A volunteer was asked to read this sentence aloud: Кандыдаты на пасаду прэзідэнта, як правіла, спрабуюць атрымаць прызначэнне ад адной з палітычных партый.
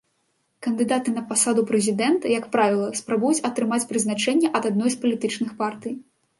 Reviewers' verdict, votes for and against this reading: accepted, 2, 0